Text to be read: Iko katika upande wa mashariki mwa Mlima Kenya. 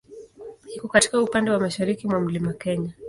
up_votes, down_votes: 2, 0